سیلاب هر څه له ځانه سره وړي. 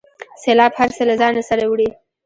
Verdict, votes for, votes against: rejected, 1, 2